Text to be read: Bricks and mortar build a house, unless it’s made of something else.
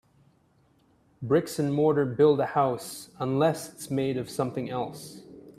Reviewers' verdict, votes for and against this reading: accepted, 2, 0